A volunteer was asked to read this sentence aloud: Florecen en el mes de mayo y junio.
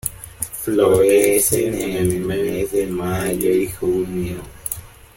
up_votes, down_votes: 1, 2